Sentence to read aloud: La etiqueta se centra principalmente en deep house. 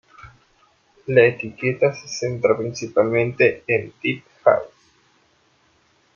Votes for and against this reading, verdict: 1, 2, rejected